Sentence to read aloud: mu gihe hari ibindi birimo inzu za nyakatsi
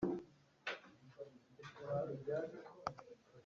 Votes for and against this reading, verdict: 1, 4, rejected